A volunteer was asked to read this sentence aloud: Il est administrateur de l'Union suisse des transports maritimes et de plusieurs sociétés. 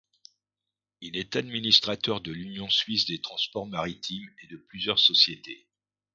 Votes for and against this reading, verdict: 2, 0, accepted